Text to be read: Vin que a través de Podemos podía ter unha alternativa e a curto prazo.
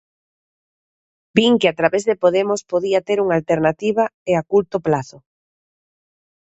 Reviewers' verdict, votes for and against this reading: rejected, 0, 2